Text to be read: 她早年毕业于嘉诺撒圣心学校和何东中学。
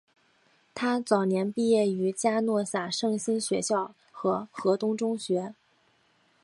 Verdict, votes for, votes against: accepted, 2, 0